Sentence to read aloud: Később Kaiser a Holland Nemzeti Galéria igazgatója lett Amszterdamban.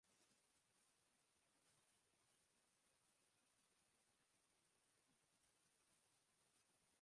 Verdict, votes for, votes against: rejected, 0, 2